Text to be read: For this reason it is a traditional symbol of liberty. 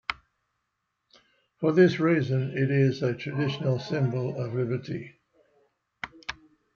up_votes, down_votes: 2, 0